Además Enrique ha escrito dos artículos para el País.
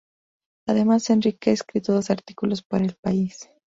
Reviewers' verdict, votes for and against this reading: accepted, 2, 0